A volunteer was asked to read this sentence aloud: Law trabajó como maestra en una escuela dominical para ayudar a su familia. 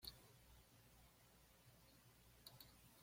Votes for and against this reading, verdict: 0, 2, rejected